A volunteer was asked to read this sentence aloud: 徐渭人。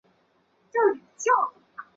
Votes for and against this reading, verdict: 0, 3, rejected